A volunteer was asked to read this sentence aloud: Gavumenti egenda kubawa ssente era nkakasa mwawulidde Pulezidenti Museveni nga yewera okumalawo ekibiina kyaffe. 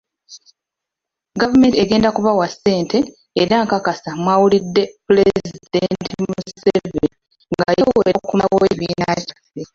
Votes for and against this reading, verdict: 1, 2, rejected